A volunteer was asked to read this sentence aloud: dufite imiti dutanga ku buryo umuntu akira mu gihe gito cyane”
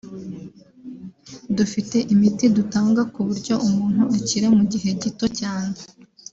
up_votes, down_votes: 2, 0